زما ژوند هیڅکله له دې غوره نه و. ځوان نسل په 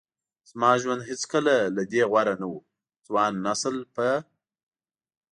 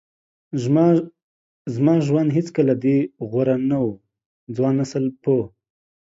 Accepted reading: first